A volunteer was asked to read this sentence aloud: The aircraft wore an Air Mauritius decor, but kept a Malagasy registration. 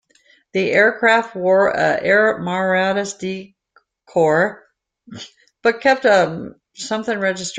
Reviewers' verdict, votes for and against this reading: rejected, 0, 2